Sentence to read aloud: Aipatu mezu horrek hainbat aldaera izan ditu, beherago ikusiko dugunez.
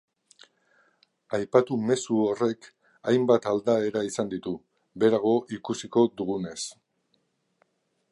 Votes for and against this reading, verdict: 3, 0, accepted